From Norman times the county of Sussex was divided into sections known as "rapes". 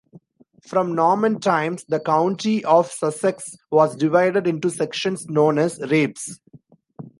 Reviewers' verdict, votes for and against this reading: accepted, 2, 0